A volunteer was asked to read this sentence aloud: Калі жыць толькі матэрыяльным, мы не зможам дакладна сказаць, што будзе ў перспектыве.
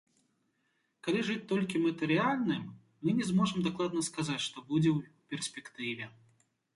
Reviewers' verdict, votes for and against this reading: accepted, 3, 0